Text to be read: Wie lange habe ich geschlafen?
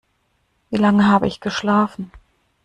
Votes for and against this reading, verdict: 2, 0, accepted